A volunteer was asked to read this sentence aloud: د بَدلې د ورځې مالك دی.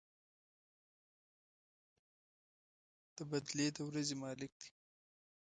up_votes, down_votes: 1, 2